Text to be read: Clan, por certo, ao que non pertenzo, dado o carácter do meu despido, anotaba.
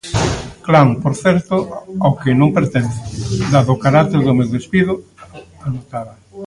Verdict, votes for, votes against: rejected, 0, 2